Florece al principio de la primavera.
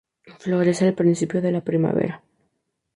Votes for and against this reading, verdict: 2, 0, accepted